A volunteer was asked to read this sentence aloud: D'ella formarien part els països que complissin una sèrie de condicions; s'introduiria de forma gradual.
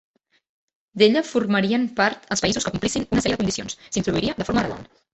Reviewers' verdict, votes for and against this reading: rejected, 1, 3